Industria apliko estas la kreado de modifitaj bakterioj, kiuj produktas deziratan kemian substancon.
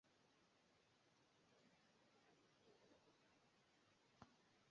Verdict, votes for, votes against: rejected, 2, 3